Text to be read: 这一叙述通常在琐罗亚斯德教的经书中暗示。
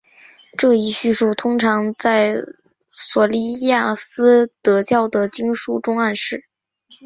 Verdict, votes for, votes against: rejected, 2, 3